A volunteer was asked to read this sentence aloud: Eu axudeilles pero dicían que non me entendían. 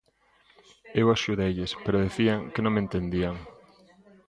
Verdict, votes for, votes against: rejected, 0, 2